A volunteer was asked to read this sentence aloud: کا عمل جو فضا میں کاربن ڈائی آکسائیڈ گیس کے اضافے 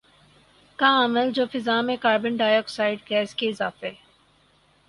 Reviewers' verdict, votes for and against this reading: accepted, 4, 0